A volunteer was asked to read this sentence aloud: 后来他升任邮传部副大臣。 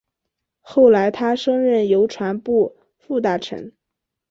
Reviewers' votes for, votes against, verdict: 2, 0, accepted